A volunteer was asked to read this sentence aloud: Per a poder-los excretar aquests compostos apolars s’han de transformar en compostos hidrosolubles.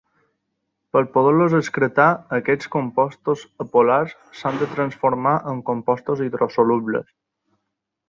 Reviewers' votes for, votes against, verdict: 2, 0, accepted